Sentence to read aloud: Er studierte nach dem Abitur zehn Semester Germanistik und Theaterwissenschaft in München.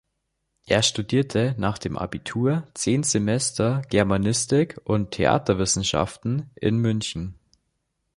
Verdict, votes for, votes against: rejected, 0, 2